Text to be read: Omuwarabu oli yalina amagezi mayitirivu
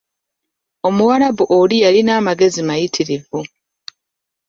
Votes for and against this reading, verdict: 2, 0, accepted